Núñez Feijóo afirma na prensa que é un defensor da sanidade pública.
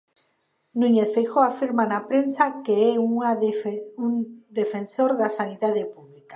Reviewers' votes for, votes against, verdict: 0, 2, rejected